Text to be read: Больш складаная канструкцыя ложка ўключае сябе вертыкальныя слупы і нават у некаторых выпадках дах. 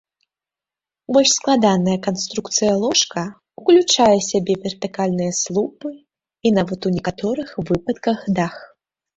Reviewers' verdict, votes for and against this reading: rejected, 1, 3